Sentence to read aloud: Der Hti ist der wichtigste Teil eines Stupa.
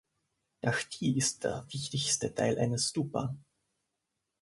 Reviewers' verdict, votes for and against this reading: rejected, 1, 2